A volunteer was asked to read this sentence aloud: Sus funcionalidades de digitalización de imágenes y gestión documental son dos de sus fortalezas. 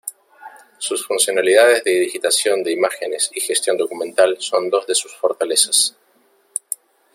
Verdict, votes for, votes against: rejected, 0, 2